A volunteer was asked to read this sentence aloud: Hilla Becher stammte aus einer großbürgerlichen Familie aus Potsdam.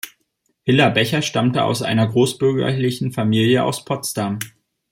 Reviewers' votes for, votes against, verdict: 2, 1, accepted